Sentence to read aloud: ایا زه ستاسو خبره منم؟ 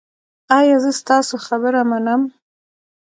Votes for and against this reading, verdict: 1, 2, rejected